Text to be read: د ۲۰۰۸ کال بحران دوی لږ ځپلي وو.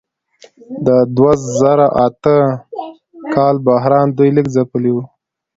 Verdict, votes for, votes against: rejected, 0, 2